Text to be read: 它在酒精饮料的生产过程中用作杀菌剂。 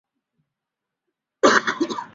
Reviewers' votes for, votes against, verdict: 0, 3, rejected